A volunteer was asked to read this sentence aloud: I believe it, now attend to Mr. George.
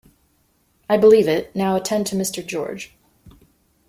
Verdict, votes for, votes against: accepted, 2, 0